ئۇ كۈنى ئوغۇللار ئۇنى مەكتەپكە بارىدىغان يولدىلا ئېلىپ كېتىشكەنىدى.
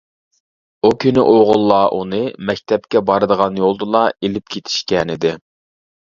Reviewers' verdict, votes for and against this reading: accepted, 2, 0